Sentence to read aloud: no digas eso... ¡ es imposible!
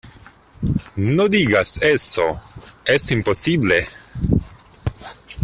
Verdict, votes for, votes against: accepted, 2, 0